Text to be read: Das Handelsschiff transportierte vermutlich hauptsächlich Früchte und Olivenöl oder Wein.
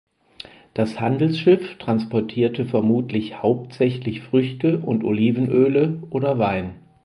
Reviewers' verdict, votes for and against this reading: rejected, 0, 4